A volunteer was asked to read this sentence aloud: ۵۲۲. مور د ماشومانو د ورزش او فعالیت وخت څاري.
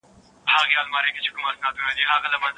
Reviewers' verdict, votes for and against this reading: rejected, 0, 2